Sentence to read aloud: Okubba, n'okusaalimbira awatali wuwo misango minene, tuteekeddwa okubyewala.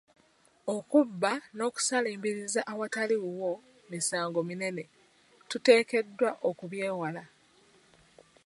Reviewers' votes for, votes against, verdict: 1, 3, rejected